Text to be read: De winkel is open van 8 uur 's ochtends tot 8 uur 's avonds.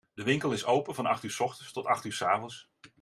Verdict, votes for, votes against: rejected, 0, 2